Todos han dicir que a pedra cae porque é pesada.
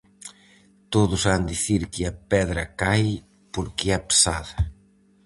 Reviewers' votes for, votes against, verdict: 4, 0, accepted